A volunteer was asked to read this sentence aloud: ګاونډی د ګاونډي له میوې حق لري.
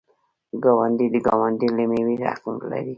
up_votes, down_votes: 1, 2